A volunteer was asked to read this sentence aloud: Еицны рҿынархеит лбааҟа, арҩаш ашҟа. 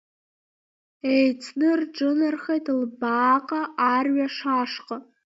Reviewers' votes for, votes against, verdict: 1, 2, rejected